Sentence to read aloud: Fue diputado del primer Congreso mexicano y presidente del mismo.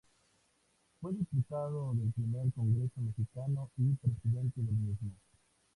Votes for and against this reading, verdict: 2, 0, accepted